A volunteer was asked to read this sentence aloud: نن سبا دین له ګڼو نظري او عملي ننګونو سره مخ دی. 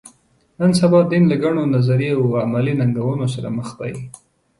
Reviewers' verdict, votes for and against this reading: accepted, 2, 0